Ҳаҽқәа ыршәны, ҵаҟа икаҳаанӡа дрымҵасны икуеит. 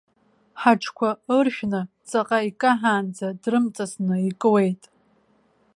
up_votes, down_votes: 2, 0